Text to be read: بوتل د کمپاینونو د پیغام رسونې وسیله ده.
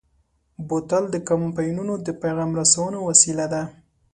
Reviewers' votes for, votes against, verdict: 2, 0, accepted